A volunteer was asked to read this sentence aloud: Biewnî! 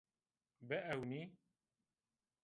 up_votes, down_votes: 1, 2